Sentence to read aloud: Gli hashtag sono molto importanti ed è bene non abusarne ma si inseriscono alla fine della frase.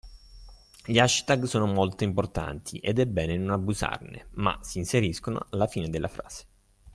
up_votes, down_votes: 2, 0